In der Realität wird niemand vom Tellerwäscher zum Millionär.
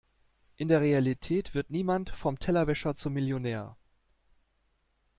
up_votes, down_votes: 2, 0